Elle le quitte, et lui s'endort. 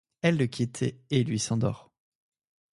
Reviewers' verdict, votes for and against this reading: rejected, 0, 2